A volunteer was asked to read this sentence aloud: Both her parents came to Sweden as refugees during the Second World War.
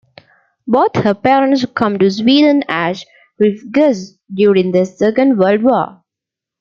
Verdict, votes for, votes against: rejected, 0, 2